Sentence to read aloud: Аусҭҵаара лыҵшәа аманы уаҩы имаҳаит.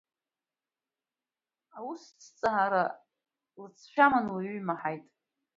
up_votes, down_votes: 2, 0